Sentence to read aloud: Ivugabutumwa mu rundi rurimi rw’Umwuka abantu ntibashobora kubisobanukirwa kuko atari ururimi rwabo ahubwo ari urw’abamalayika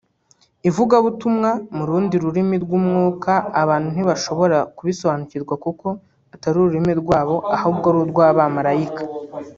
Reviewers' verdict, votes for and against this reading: accepted, 2, 1